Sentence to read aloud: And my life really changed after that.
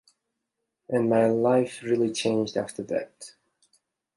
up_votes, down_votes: 2, 0